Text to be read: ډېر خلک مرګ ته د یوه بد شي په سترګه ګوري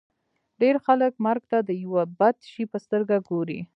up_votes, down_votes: 2, 0